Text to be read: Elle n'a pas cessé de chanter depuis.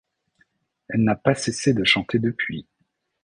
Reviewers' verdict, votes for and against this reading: accepted, 2, 0